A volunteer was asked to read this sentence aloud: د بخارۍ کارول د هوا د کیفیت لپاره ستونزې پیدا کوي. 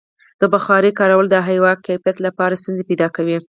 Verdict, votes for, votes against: rejected, 2, 4